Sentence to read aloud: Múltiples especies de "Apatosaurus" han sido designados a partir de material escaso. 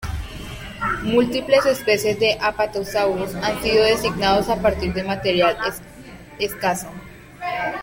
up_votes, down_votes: 0, 2